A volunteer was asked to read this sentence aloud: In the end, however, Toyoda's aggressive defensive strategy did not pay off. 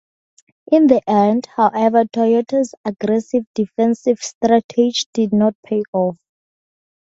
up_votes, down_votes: 2, 0